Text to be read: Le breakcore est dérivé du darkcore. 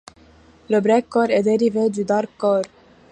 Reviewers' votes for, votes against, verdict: 2, 0, accepted